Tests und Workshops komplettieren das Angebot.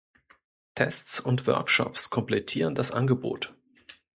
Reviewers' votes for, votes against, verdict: 2, 0, accepted